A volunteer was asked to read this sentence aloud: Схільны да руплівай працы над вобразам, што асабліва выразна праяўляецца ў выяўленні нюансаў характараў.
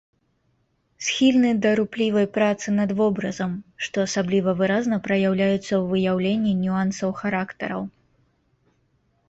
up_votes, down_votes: 2, 0